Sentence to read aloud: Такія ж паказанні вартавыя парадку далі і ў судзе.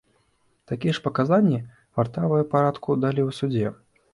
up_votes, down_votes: 1, 2